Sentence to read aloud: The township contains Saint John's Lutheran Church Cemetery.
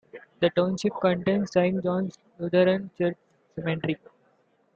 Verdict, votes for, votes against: rejected, 2, 3